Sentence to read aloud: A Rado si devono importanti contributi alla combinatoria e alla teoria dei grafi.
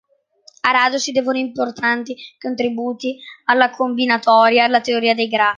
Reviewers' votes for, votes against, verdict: 0, 2, rejected